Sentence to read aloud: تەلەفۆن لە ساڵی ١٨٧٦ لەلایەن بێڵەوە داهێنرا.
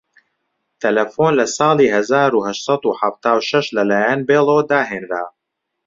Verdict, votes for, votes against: rejected, 0, 2